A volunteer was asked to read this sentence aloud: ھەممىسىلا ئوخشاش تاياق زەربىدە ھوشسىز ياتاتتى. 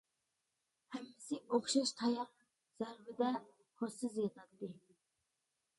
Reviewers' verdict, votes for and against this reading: rejected, 0, 2